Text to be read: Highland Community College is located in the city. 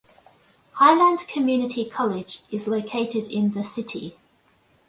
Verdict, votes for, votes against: accepted, 2, 0